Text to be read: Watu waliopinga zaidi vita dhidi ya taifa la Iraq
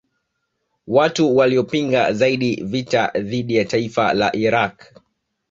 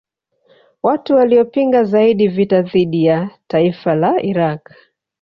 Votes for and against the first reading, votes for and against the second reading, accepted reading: 2, 1, 1, 2, first